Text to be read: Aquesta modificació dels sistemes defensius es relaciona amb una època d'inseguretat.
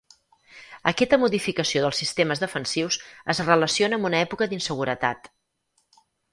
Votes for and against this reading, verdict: 0, 4, rejected